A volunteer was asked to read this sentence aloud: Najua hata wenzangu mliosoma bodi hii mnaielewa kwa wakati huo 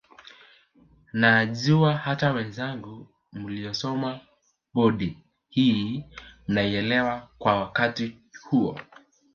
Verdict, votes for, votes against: accepted, 2, 0